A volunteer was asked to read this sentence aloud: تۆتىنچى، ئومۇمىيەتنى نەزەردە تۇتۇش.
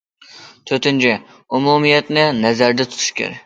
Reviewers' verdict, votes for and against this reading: rejected, 0, 2